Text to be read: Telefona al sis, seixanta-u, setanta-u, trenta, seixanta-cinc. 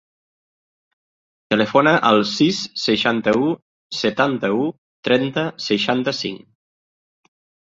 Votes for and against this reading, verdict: 3, 0, accepted